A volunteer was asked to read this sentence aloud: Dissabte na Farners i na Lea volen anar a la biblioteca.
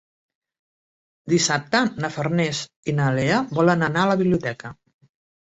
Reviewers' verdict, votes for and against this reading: accepted, 3, 0